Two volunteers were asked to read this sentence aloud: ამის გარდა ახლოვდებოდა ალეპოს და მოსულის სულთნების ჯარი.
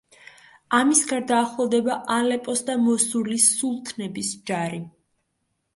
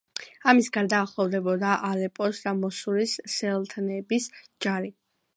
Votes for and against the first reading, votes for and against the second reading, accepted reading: 1, 2, 2, 0, second